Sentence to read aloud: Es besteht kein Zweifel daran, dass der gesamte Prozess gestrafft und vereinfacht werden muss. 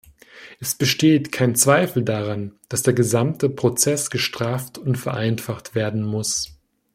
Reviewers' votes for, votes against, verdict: 1, 2, rejected